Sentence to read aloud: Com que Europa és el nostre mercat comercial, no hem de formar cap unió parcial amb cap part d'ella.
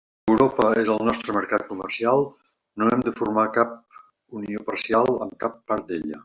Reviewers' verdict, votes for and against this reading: rejected, 0, 2